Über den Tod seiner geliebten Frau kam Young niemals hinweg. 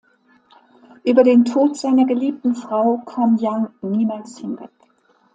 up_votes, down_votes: 2, 0